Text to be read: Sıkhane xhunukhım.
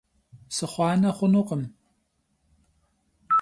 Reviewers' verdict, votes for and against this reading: rejected, 0, 2